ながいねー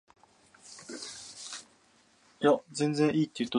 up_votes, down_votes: 0, 2